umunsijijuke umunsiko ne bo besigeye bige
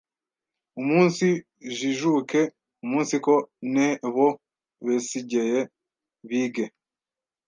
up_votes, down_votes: 1, 2